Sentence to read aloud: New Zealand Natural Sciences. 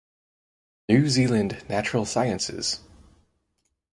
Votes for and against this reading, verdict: 4, 2, accepted